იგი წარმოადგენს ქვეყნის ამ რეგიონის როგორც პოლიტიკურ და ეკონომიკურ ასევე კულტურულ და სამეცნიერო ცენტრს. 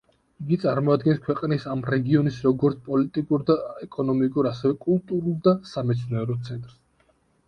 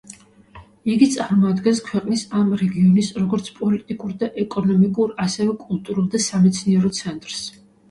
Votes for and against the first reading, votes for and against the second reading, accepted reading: 1, 2, 2, 0, second